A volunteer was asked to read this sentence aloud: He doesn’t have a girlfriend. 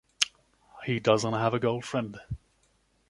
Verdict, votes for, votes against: accepted, 2, 0